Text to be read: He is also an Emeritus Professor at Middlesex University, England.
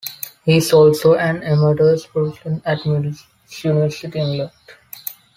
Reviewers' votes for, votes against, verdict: 0, 2, rejected